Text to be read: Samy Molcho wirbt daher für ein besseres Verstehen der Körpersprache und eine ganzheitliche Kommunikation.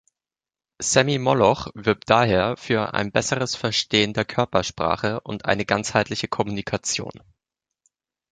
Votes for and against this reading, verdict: 0, 2, rejected